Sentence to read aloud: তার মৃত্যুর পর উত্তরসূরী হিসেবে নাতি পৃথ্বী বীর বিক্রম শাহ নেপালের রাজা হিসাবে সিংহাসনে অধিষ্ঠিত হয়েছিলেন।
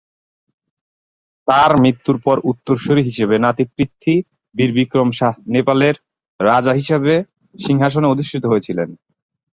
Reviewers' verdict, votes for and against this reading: rejected, 0, 2